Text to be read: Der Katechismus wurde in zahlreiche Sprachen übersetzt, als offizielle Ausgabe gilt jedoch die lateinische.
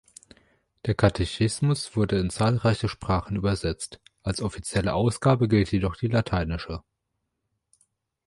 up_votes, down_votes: 2, 0